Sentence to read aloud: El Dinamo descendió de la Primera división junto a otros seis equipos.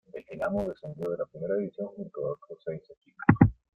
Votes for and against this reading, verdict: 2, 1, accepted